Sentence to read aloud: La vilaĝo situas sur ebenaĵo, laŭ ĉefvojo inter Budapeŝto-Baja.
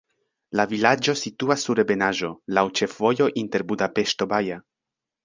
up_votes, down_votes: 2, 0